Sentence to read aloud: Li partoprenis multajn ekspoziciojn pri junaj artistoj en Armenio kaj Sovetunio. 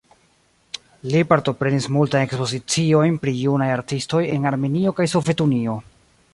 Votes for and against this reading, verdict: 2, 0, accepted